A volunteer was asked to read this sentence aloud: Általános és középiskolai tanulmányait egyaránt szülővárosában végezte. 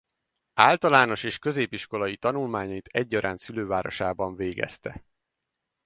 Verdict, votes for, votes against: accepted, 4, 0